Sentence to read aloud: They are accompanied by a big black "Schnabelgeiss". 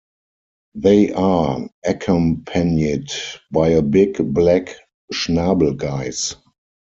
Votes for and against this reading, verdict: 2, 4, rejected